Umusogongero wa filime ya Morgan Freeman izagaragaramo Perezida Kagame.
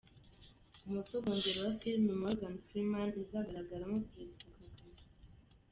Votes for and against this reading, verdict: 0, 2, rejected